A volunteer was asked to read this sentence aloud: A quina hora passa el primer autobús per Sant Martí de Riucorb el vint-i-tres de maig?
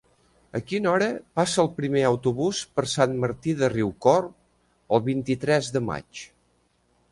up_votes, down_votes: 2, 0